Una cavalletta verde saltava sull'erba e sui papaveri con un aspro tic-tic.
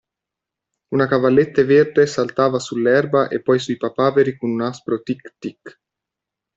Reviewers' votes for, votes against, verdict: 1, 2, rejected